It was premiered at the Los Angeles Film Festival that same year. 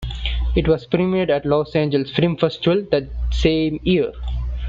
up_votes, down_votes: 2, 0